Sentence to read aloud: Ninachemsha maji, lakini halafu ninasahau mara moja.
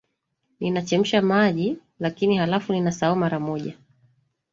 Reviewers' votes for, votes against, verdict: 2, 0, accepted